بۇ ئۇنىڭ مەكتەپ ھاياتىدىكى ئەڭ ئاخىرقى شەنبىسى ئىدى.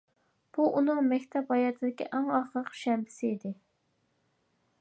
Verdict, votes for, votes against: accepted, 2, 1